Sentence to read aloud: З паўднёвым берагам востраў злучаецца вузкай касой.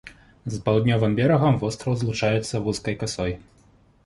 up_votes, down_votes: 2, 0